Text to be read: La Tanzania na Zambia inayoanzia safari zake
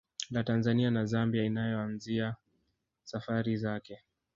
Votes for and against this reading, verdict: 2, 1, accepted